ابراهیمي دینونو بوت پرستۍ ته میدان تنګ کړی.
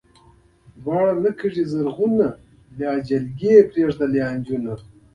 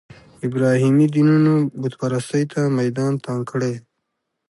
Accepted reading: second